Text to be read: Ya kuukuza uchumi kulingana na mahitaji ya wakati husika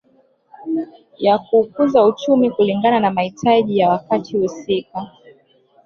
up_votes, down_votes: 1, 2